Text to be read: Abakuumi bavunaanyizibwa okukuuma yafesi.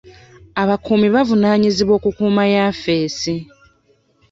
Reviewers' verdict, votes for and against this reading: rejected, 1, 2